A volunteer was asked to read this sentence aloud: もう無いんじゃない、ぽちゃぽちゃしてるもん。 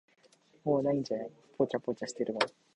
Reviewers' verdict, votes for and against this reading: accepted, 2, 0